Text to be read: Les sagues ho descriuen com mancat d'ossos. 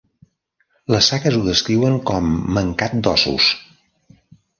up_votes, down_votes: 2, 0